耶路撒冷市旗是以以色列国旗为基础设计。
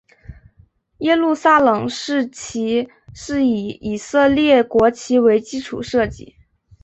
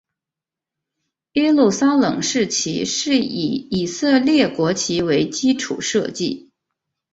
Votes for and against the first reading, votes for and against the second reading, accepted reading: 5, 0, 1, 2, first